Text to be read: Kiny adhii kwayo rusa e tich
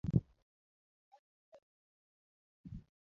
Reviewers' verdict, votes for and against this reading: rejected, 1, 2